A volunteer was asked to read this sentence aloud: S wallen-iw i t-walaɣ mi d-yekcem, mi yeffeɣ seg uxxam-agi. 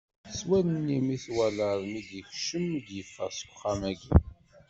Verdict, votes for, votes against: accepted, 2, 0